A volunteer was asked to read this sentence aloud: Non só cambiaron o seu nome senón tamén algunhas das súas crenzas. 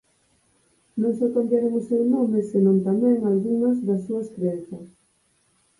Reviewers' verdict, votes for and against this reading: accepted, 4, 0